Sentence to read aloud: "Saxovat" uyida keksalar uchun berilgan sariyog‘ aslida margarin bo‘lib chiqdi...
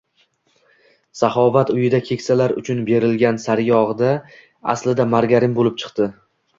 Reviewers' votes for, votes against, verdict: 2, 0, accepted